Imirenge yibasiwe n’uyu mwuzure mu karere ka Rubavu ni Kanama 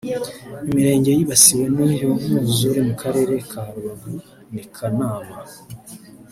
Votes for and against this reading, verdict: 0, 2, rejected